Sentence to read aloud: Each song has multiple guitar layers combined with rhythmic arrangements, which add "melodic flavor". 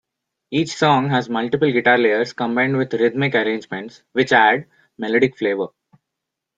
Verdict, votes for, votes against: accepted, 2, 0